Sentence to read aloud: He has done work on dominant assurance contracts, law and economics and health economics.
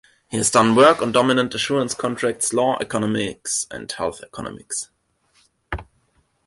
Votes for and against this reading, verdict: 2, 0, accepted